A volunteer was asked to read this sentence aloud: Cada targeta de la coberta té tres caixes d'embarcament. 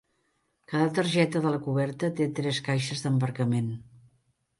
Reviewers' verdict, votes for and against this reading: accepted, 3, 0